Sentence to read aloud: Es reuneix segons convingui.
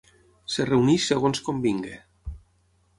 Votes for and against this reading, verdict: 0, 6, rejected